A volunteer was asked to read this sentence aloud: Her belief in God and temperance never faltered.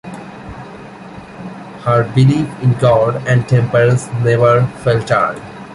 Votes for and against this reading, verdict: 2, 1, accepted